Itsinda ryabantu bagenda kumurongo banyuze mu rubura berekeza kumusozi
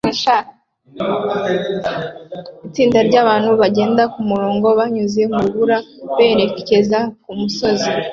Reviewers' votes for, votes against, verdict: 2, 1, accepted